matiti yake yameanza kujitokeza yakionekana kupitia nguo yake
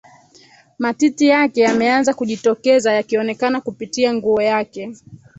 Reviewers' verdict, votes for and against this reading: rejected, 1, 2